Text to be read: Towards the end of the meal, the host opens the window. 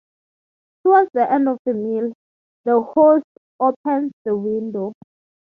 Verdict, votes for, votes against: accepted, 3, 0